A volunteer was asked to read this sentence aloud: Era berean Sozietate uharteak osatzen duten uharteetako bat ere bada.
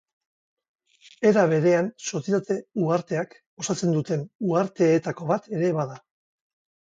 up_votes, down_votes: 6, 2